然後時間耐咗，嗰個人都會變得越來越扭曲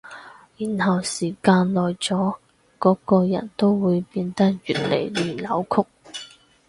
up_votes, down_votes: 2, 2